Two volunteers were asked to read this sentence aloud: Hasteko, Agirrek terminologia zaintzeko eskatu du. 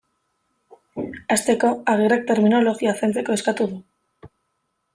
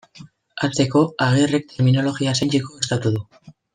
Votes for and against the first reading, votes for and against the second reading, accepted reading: 2, 0, 0, 2, first